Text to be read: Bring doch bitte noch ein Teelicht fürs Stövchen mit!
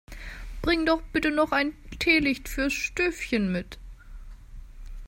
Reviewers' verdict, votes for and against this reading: accepted, 2, 0